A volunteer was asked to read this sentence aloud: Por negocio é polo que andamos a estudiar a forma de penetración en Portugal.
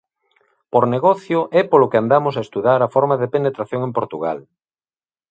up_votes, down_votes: 1, 2